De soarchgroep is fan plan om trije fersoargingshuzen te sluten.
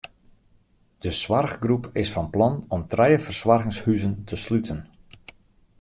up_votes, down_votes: 2, 0